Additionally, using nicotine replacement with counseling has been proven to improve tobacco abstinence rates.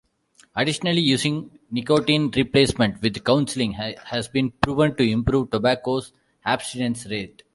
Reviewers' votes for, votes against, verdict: 2, 1, accepted